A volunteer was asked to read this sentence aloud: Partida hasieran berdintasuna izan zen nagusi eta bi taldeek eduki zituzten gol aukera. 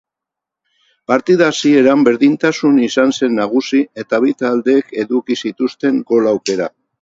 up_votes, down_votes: 0, 4